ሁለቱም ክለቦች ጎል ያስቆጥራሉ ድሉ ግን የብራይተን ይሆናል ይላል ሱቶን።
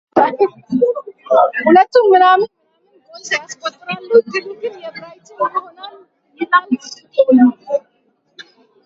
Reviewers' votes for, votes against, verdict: 0, 2, rejected